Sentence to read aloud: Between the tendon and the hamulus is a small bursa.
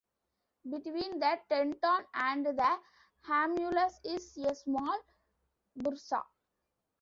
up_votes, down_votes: 0, 2